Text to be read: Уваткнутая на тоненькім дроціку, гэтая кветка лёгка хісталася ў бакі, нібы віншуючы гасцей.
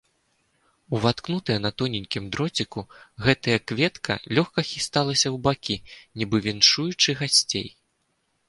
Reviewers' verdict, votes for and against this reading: accepted, 2, 0